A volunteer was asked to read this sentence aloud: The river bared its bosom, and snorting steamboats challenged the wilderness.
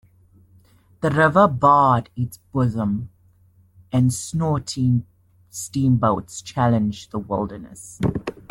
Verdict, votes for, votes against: rejected, 1, 2